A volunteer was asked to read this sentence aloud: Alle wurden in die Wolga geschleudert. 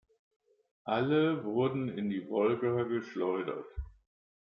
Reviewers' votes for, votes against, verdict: 3, 1, accepted